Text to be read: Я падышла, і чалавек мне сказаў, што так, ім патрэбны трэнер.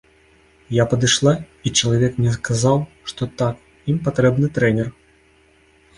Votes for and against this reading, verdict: 2, 0, accepted